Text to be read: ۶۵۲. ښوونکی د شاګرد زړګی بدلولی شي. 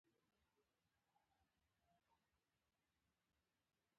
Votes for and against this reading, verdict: 0, 2, rejected